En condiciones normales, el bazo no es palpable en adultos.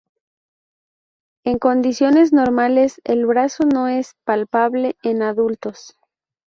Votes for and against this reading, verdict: 0, 2, rejected